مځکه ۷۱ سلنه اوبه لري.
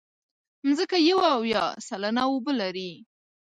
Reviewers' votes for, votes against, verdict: 0, 2, rejected